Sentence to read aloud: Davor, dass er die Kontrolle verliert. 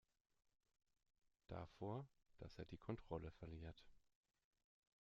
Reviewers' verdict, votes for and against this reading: accepted, 2, 0